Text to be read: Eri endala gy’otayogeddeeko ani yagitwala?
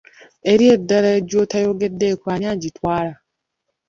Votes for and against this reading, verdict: 0, 2, rejected